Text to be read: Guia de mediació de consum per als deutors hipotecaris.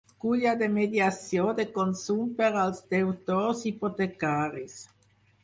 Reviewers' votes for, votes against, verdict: 2, 4, rejected